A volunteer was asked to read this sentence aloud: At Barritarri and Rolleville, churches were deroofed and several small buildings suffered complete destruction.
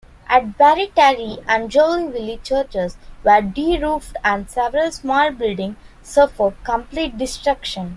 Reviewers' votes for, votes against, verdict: 0, 2, rejected